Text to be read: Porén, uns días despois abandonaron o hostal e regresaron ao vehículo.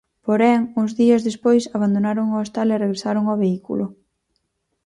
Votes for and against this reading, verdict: 4, 0, accepted